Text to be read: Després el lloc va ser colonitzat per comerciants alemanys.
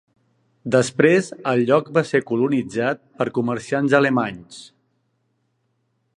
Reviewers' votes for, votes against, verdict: 2, 0, accepted